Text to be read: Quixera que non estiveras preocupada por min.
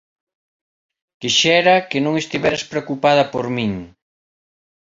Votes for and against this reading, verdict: 2, 1, accepted